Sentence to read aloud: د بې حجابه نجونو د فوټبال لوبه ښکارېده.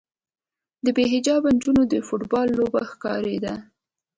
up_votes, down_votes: 2, 0